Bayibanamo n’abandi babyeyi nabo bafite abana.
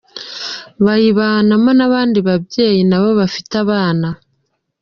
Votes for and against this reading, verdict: 2, 0, accepted